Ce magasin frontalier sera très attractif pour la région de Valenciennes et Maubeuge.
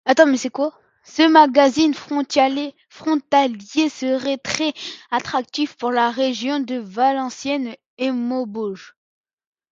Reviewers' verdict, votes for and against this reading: rejected, 0, 2